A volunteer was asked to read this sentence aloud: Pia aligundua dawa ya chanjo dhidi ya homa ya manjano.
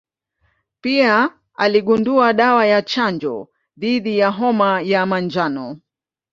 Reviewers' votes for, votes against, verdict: 2, 0, accepted